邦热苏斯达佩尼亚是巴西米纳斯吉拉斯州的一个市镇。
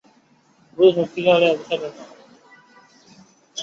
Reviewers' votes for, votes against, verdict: 1, 3, rejected